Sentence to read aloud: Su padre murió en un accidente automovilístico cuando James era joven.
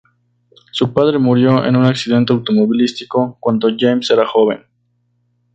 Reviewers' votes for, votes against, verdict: 2, 0, accepted